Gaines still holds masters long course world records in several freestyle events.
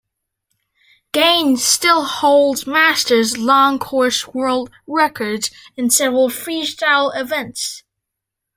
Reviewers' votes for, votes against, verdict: 2, 0, accepted